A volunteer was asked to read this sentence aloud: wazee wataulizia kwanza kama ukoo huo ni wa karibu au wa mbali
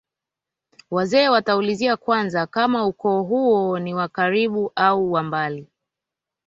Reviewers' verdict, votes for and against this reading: accepted, 2, 0